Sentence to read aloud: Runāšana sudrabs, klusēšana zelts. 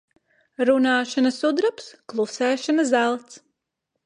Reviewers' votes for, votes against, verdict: 2, 0, accepted